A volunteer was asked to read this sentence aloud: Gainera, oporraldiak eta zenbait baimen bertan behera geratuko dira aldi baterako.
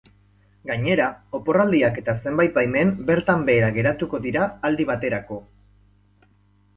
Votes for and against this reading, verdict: 8, 0, accepted